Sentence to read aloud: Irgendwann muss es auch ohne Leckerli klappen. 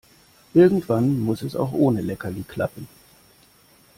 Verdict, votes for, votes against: accepted, 2, 0